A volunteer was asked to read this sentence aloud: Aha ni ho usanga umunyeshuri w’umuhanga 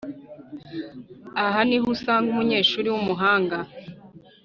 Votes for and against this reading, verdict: 2, 0, accepted